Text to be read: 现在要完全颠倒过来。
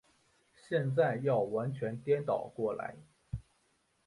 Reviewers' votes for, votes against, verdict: 2, 0, accepted